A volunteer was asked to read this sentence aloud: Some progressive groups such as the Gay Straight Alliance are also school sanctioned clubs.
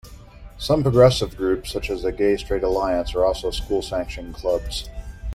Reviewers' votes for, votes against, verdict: 2, 0, accepted